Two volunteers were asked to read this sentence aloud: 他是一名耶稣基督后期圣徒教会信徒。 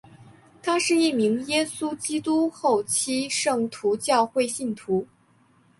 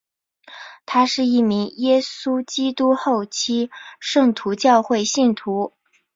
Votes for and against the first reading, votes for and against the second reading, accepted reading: 1, 2, 3, 0, second